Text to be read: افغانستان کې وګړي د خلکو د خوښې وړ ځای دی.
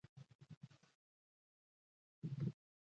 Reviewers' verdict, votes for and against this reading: rejected, 1, 2